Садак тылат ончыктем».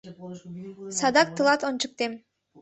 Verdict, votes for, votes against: rejected, 1, 2